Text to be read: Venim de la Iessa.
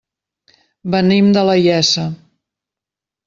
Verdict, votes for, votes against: accepted, 2, 0